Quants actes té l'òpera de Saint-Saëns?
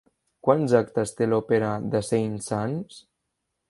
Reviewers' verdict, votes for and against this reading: rejected, 0, 2